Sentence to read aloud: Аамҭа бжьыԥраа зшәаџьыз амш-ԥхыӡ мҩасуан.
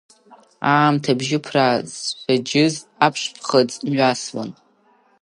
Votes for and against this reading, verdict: 0, 2, rejected